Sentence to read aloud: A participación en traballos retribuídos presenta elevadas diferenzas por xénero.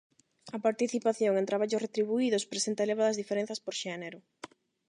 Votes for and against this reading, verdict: 8, 0, accepted